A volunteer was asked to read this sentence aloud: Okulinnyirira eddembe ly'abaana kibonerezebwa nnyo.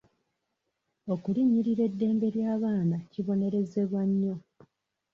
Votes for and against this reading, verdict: 2, 0, accepted